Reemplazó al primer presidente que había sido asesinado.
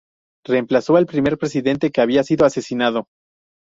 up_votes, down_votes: 2, 0